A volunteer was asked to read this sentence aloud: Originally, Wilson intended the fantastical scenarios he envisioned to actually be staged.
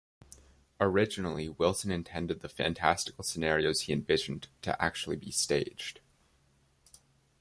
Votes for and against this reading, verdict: 2, 0, accepted